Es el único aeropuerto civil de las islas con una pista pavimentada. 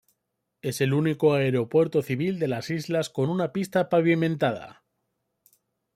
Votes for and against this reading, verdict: 2, 0, accepted